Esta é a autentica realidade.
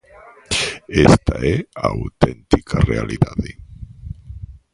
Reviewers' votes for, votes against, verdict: 0, 2, rejected